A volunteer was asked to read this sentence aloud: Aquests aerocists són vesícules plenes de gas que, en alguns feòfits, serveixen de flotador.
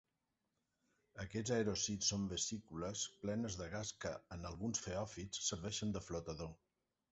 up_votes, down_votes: 1, 2